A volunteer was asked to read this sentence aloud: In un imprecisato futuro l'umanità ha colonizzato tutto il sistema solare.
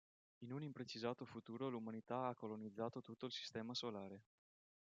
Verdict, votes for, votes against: accepted, 2, 0